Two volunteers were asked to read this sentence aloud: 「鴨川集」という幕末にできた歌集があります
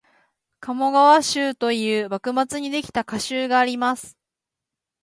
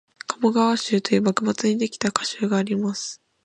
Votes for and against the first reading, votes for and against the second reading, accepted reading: 0, 2, 6, 0, second